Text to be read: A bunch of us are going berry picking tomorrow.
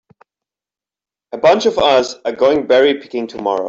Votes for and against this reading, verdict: 3, 1, accepted